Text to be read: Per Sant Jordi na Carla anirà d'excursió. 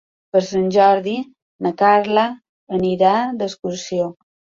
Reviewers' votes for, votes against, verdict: 3, 0, accepted